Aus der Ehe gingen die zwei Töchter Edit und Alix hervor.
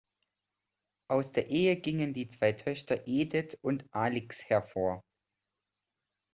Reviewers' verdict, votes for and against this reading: accepted, 2, 0